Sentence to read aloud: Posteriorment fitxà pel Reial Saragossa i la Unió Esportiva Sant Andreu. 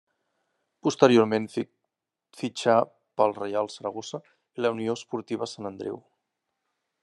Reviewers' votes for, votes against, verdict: 0, 2, rejected